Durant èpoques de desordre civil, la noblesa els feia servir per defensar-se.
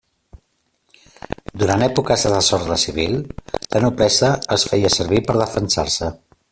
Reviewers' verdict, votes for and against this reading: accepted, 2, 0